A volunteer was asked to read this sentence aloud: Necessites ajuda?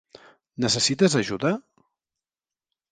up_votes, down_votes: 3, 0